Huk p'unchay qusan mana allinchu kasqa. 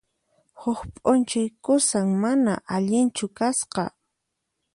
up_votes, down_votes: 0, 4